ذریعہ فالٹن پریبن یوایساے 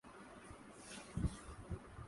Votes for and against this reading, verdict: 0, 2, rejected